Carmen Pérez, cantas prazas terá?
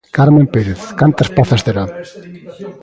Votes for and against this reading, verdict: 0, 2, rejected